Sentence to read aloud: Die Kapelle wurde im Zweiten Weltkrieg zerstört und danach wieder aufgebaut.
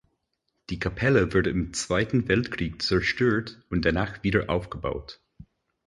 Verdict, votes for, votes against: rejected, 0, 4